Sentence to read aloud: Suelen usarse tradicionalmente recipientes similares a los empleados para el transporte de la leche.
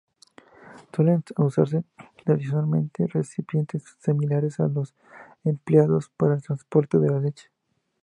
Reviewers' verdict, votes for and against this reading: accepted, 2, 0